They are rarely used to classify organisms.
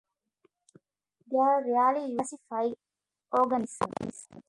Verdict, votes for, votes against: rejected, 0, 2